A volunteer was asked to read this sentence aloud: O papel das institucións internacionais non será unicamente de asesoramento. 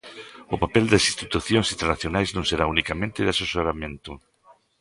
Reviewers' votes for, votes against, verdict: 2, 1, accepted